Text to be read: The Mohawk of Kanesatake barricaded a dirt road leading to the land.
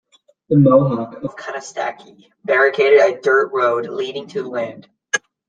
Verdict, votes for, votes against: rejected, 0, 2